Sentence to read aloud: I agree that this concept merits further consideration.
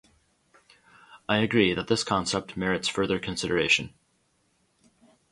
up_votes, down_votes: 0, 2